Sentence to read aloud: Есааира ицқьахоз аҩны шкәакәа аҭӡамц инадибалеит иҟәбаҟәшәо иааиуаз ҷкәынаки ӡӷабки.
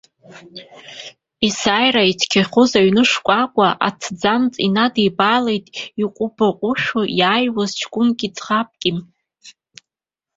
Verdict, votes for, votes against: accepted, 2, 1